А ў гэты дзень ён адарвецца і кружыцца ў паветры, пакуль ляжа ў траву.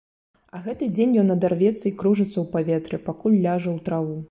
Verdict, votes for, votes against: rejected, 1, 2